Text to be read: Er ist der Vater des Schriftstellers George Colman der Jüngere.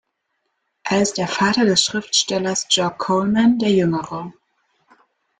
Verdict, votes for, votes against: accepted, 2, 1